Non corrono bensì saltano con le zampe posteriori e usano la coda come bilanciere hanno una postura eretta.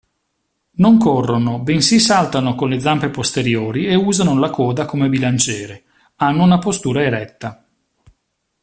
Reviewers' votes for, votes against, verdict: 2, 0, accepted